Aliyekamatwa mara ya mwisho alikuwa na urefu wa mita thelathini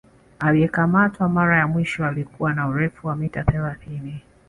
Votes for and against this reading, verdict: 6, 0, accepted